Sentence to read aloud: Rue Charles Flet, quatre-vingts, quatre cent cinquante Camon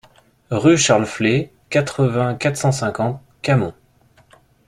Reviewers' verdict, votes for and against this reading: accepted, 2, 0